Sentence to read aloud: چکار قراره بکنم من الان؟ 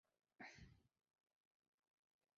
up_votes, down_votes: 0, 2